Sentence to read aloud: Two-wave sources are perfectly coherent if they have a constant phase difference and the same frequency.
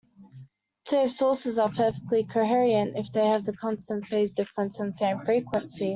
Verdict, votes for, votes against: rejected, 0, 2